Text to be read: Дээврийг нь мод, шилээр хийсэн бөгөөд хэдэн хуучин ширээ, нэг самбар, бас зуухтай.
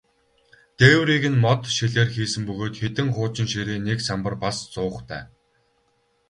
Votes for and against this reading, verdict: 2, 0, accepted